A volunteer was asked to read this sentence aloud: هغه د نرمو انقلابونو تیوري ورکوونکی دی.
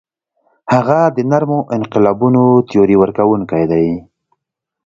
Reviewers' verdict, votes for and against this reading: accepted, 2, 0